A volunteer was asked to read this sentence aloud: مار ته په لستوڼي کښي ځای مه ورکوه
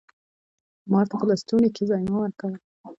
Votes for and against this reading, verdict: 1, 2, rejected